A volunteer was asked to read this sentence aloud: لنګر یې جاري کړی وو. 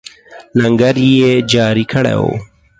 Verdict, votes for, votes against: accepted, 4, 0